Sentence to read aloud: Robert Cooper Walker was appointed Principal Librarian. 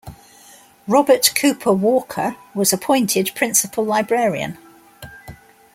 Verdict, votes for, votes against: accepted, 2, 0